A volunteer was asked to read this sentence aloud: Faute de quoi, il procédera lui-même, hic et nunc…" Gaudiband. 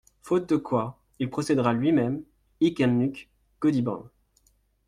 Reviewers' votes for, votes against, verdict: 2, 0, accepted